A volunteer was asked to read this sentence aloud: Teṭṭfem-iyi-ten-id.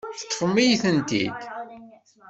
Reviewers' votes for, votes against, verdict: 1, 2, rejected